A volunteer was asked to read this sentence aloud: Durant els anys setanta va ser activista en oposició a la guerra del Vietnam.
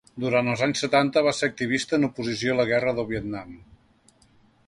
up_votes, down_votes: 2, 0